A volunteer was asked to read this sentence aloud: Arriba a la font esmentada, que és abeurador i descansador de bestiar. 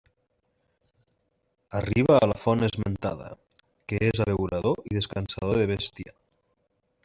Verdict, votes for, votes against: accepted, 2, 1